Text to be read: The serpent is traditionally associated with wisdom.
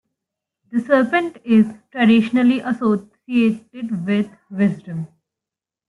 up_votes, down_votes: 1, 2